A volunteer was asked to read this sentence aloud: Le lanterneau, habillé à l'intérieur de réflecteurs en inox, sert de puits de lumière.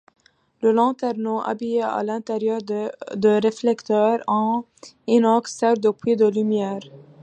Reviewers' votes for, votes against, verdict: 1, 2, rejected